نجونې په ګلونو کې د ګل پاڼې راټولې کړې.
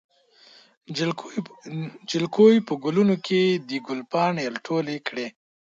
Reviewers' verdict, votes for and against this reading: rejected, 0, 2